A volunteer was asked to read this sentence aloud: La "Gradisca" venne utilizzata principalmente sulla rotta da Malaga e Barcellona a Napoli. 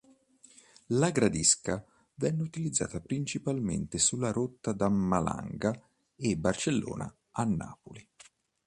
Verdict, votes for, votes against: rejected, 0, 2